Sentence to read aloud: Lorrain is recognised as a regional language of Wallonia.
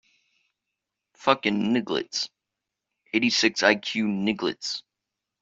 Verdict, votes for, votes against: rejected, 0, 2